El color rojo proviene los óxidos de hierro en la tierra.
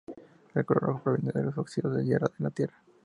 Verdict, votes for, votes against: accepted, 2, 0